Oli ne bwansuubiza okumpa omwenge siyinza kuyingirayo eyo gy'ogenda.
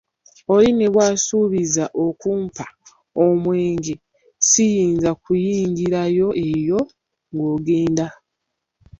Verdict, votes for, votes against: rejected, 0, 2